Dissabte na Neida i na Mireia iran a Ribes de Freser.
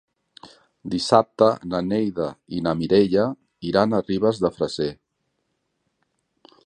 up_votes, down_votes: 3, 0